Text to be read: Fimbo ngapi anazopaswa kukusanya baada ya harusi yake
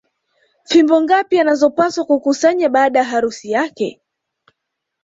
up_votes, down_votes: 2, 1